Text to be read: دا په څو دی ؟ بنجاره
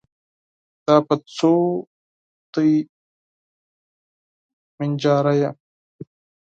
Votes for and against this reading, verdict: 4, 6, rejected